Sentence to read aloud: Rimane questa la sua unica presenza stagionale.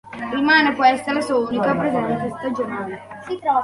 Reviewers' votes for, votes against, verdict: 2, 0, accepted